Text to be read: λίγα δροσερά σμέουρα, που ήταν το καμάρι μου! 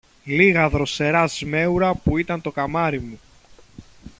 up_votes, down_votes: 2, 0